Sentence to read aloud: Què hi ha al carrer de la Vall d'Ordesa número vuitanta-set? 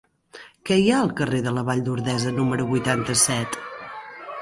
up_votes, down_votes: 1, 2